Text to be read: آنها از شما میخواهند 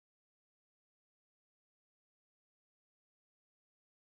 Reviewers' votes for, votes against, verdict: 1, 2, rejected